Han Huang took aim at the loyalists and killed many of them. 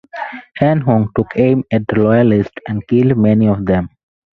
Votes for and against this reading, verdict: 0, 2, rejected